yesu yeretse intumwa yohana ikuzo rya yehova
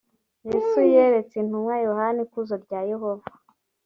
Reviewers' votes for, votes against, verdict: 2, 0, accepted